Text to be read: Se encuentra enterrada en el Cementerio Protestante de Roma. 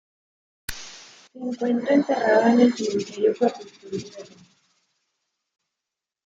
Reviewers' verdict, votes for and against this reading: rejected, 0, 2